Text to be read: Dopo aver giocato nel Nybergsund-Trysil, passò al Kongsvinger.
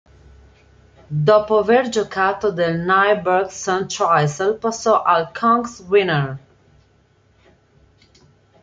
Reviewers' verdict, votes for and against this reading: rejected, 1, 2